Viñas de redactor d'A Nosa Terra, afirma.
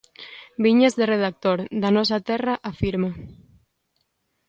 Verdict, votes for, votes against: accepted, 2, 0